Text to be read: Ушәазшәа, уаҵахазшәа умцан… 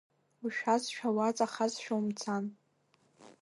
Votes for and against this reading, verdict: 1, 2, rejected